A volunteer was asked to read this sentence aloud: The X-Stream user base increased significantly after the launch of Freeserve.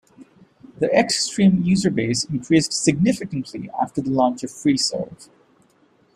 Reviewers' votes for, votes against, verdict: 2, 0, accepted